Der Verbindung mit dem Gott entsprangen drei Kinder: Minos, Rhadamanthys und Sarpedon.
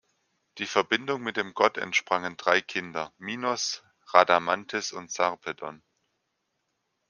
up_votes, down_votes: 1, 3